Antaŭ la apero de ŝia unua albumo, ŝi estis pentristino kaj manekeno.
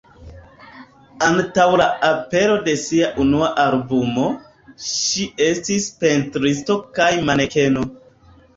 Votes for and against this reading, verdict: 2, 1, accepted